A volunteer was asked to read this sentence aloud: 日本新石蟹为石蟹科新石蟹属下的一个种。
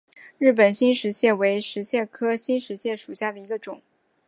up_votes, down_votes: 0, 2